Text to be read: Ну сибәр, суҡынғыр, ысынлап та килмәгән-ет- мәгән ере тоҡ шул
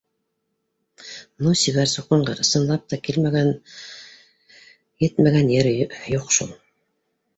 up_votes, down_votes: 0, 2